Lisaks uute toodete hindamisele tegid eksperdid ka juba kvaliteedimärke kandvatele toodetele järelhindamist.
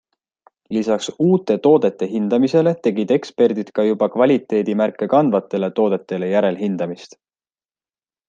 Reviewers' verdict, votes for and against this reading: accepted, 2, 0